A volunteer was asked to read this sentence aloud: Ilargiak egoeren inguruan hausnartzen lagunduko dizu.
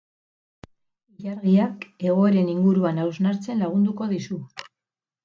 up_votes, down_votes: 4, 2